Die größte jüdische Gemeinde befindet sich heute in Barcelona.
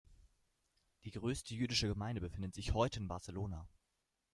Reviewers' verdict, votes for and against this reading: rejected, 1, 2